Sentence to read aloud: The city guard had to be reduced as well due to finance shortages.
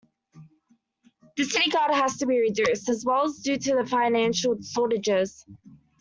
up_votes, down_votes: 0, 2